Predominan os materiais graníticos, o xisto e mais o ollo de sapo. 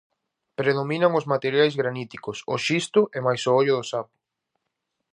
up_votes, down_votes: 0, 2